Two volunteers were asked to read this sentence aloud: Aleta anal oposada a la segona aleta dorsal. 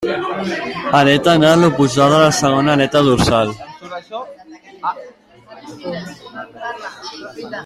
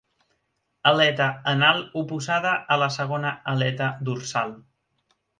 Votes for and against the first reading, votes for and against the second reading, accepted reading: 0, 2, 2, 0, second